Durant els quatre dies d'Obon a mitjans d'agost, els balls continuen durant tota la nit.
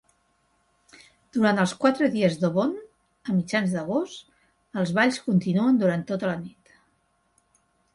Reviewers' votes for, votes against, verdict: 2, 0, accepted